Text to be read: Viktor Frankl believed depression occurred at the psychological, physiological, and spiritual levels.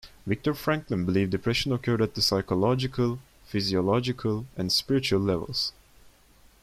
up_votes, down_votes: 2, 0